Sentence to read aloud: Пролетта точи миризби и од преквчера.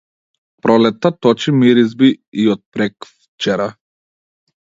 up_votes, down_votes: 1, 2